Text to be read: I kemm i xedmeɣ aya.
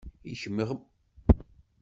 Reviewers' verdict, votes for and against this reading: rejected, 0, 2